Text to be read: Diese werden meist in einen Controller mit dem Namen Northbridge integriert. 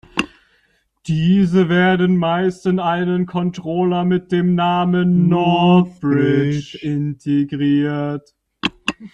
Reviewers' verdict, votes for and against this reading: rejected, 1, 2